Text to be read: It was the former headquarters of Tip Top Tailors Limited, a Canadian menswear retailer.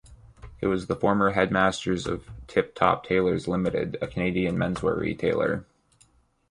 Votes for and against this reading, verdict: 1, 2, rejected